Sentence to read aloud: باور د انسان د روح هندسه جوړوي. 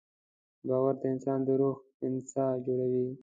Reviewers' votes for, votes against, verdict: 2, 0, accepted